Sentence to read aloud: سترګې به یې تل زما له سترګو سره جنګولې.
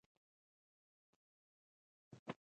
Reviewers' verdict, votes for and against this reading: rejected, 1, 2